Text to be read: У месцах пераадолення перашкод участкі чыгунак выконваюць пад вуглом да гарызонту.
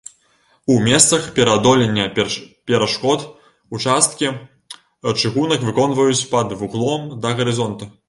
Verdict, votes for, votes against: rejected, 1, 2